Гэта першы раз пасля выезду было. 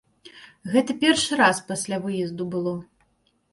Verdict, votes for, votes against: accepted, 2, 0